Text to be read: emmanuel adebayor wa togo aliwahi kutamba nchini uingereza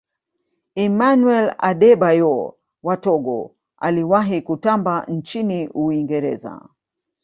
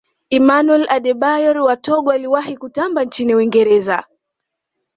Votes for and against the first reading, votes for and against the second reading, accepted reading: 1, 2, 2, 0, second